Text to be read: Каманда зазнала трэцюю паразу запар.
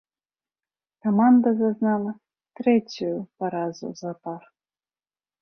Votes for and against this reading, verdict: 0, 2, rejected